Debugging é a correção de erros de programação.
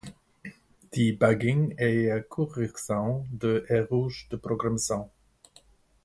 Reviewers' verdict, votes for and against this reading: accepted, 2, 0